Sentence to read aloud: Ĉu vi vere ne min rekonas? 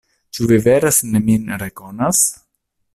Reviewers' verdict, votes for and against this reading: rejected, 1, 2